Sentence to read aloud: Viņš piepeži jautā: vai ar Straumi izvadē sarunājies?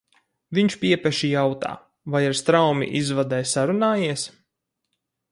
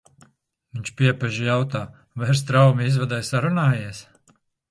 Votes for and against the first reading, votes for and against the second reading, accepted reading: 2, 2, 2, 0, second